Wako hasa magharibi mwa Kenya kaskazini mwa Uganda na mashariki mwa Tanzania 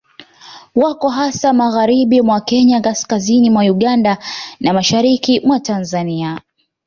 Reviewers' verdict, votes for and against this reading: accepted, 2, 0